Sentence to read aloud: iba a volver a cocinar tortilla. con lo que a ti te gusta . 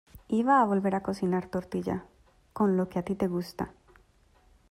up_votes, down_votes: 2, 0